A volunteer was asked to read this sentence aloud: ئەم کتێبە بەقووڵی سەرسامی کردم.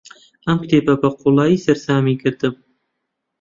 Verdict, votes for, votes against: rejected, 0, 2